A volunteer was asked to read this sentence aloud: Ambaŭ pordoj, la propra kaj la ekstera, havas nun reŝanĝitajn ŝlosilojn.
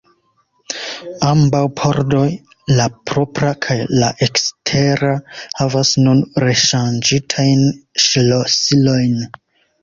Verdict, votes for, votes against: accepted, 2, 0